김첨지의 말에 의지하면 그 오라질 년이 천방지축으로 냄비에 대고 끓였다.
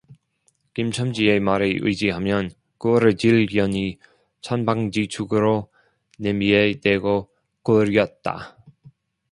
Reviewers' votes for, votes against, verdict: 0, 2, rejected